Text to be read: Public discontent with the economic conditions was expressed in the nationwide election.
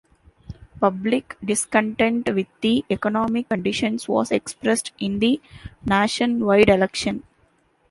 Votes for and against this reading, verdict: 2, 0, accepted